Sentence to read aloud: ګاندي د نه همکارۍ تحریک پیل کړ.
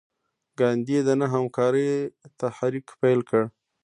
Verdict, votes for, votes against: rejected, 1, 2